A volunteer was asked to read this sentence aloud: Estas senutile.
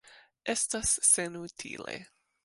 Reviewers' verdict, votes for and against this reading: accepted, 2, 0